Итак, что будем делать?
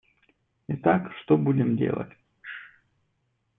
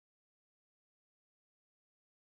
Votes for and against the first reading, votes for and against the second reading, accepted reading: 2, 1, 0, 2, first